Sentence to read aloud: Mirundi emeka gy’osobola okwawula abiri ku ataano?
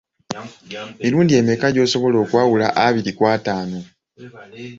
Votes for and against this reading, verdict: 2, 0, accepted